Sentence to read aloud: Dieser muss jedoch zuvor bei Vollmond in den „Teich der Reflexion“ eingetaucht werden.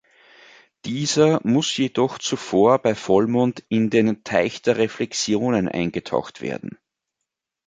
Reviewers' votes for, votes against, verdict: 2, 3, rejected